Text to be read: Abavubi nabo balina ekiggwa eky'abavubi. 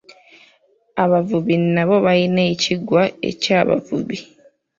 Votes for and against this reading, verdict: 1, 2, rejected